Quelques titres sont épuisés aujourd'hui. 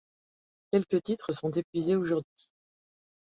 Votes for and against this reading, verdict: 2, 1, accepted